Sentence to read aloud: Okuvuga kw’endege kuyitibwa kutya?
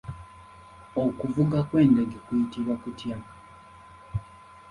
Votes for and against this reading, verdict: 2, 1, accepted